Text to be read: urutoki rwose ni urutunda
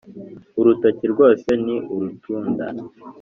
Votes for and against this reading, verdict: 4, 1, accepted